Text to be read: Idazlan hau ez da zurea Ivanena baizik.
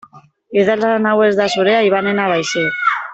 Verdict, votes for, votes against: rejected, 0, 2